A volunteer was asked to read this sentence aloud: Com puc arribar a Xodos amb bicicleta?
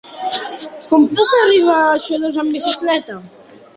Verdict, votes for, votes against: rejected, 1, 2